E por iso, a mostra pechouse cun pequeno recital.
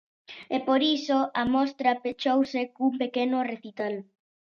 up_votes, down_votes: 2, 0